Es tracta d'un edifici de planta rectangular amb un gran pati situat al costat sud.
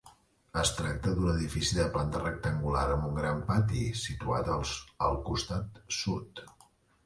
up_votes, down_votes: 0, 2